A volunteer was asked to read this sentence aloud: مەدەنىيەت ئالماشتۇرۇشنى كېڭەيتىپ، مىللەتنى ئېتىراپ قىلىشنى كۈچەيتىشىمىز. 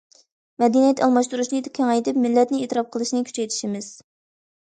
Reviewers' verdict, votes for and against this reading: accepted, 2, 0